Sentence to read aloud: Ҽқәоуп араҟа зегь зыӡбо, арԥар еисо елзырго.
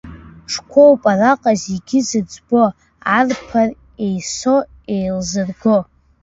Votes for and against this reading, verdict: 0, 2, rejected